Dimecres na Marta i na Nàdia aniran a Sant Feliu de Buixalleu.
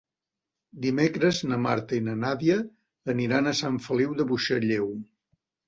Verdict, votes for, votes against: accepted, 3, 0